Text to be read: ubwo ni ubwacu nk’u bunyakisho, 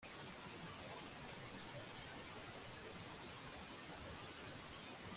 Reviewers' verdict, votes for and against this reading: rejected, 0, 2